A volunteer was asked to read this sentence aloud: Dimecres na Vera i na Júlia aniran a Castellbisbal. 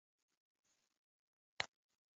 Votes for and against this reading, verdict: 1, 2, rejected